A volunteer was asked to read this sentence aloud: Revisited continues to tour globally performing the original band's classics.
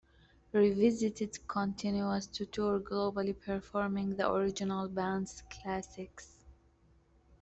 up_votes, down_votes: 1, 2